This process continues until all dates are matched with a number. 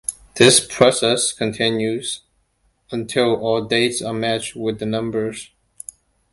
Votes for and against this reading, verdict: 0, 2, rejected